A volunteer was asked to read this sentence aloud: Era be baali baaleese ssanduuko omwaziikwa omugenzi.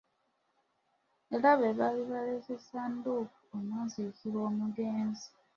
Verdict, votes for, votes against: accepted, 2, 0